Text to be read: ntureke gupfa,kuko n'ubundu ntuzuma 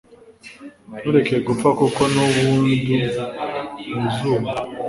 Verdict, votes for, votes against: rejected, 1, 2